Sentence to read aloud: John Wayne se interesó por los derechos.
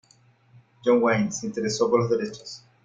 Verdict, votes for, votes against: accepted, 2, 0